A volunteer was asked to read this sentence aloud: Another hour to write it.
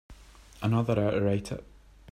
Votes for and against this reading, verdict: 1, 2, rejected